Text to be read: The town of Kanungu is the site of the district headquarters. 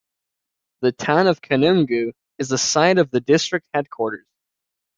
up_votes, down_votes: 2, 0